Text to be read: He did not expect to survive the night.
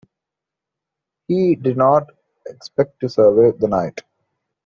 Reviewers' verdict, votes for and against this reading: accepted, 2, 0